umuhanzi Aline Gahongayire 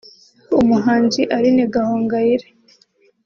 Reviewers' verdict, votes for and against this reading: accepted, 2, 0